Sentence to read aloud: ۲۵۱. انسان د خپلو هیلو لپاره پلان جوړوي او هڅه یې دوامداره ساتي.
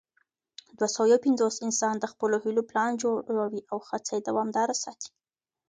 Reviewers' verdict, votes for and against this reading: rejected, 0, 2